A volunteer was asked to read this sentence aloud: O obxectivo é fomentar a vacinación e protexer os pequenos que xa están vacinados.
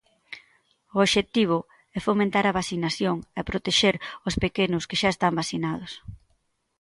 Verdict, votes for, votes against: accepted, 2, 0